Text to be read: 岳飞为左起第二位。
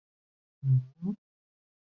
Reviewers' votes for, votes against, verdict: 0, 2, rejected